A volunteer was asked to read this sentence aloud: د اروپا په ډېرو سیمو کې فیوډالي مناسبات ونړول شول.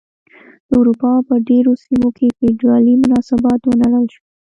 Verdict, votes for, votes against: rejected, 1, 3